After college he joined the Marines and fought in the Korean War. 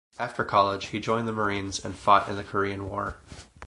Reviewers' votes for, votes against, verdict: 2, 0, accepted